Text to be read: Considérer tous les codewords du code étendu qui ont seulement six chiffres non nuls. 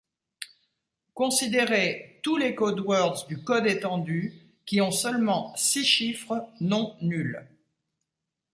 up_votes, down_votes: 2, 1